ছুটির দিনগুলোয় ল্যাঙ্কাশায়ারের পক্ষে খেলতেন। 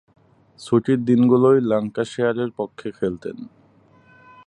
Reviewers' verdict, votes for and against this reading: accepted, 3, 0